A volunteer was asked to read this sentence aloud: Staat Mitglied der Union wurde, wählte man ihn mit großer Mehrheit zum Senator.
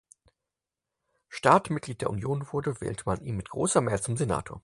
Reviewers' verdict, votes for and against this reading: accepted, 4, 2